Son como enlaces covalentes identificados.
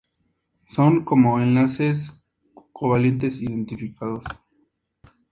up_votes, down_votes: 2, 0